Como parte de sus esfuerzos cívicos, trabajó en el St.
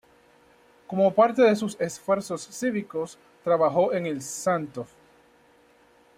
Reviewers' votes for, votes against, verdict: 0, 2, rejected